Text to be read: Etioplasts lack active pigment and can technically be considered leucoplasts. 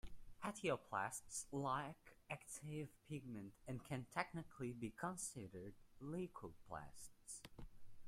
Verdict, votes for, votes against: accepted, 2, 1